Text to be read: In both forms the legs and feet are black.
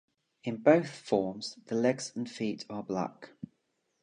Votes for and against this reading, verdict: 2, 0, accepted